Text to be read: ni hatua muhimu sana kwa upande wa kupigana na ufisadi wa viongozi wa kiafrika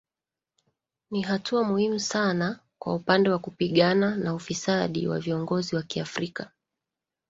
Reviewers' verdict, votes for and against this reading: rejected, 0, 2